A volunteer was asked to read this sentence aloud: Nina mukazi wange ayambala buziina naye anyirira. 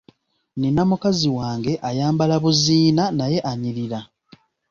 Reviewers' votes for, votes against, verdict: 2, 0, accepted